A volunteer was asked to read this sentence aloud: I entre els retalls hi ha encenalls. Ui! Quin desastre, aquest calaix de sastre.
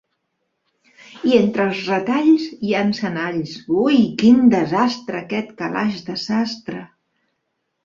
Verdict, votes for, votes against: accepted, 3, 0